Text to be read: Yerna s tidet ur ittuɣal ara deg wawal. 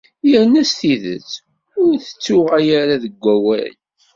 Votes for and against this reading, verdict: 0, 2, rejected